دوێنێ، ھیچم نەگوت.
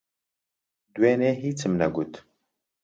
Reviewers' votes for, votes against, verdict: 2, 0, accepted